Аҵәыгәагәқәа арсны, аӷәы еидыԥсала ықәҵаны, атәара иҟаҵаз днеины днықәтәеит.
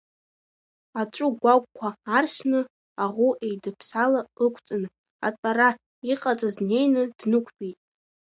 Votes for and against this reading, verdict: 0, 2, rejected